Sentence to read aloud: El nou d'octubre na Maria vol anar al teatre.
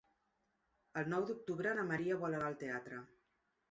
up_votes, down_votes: 3, 0